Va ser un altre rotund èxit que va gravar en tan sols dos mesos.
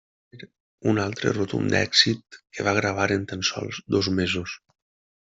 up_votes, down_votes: 1, 2